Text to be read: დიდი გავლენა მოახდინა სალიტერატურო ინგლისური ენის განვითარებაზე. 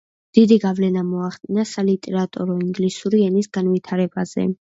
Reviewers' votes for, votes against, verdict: 2, 0, accepted